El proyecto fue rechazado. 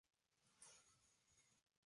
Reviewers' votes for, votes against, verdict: 0, 2, rejected